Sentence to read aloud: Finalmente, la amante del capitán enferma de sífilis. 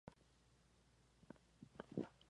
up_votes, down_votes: 2, 4